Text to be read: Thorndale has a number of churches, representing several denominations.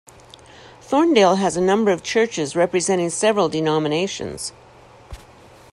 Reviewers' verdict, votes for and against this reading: accepted, 2, 0